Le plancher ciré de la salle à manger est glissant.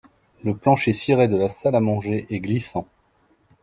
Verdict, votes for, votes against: accepted, 2, 0